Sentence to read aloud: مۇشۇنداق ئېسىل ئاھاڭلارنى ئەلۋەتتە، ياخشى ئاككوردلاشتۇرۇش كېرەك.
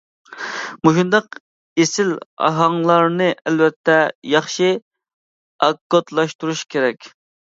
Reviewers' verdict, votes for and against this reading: rejected, 1, 2